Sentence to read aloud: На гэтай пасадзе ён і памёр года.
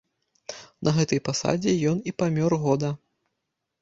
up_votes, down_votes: 2, 0